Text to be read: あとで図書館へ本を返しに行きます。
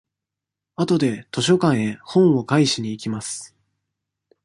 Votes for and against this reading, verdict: 2, 1, accepted